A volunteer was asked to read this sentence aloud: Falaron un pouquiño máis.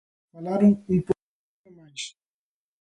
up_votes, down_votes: 0, 2